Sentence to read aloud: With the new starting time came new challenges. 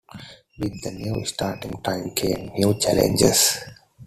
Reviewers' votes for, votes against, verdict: 0, 2, rejected